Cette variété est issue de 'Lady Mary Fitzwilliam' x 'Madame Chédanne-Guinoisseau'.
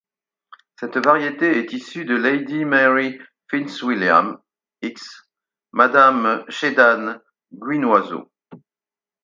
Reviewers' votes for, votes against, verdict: 4, 0, accepted